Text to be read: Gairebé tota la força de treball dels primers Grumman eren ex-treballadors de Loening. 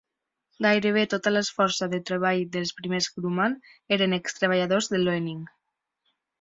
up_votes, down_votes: 2, 0